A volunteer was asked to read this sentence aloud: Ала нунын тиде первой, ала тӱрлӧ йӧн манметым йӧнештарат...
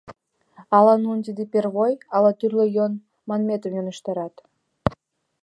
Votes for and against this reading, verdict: 0, 2, rejected